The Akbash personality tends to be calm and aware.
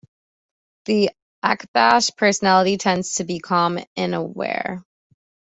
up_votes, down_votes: 2, 0